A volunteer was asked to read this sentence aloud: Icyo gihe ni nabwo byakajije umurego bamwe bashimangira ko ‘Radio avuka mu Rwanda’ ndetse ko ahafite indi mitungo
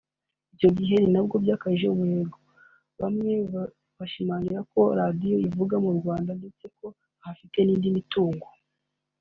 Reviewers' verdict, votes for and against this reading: rejected, 0, 2